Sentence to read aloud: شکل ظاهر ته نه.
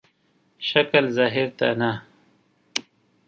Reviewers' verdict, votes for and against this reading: accepted, 2, 0